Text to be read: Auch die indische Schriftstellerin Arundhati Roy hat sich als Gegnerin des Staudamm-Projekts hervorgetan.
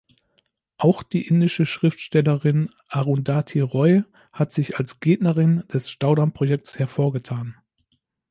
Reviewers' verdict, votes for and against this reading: accepted, 2, 0